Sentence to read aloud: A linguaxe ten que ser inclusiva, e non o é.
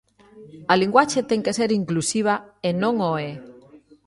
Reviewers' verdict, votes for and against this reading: rejected, 0, 2